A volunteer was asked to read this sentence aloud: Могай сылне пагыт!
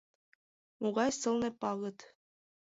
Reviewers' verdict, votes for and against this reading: accepted, 2, 0